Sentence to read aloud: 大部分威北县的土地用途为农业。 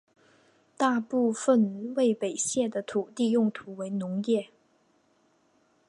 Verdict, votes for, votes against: accepted, 6, 0